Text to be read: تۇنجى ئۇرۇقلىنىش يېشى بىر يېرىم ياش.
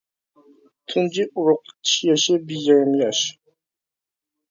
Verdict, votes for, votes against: rejected, 0, 2